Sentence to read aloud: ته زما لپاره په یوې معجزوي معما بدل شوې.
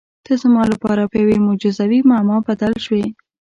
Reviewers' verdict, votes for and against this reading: accepted, 2, 0